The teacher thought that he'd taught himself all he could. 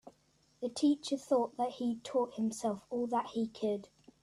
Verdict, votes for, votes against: accepted, 2, 1